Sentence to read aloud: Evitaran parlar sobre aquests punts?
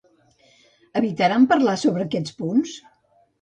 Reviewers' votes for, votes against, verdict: 2, 0, accepted